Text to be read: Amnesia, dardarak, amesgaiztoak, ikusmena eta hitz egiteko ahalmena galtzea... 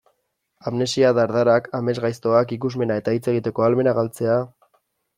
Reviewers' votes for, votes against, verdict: 2, 0, accepted